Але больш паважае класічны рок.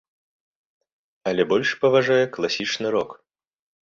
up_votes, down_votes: 2, 0